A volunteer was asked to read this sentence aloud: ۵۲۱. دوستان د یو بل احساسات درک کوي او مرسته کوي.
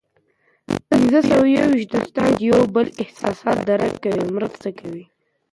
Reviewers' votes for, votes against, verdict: 0, 2, rejected